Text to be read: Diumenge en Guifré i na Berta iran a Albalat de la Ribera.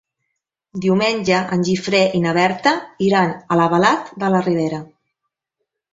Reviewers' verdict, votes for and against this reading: rejected, 0, 2